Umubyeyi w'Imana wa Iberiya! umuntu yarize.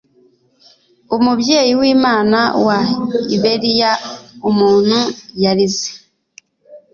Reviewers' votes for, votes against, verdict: 2, 0, accepted